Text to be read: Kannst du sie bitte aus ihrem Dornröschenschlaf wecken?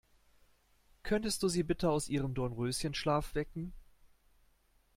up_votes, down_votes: 0, 2